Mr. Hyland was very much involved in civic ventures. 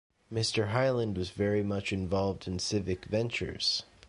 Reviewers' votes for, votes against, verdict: 2, 1, accepted